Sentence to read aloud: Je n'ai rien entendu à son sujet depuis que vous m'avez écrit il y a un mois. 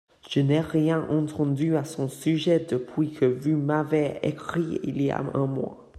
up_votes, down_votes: 1, 2